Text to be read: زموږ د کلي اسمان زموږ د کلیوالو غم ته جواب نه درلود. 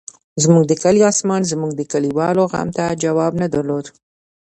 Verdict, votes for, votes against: rejected, 1, 2